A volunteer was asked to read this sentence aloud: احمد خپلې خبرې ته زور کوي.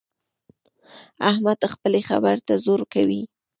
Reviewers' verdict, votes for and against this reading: rejected, 0, 2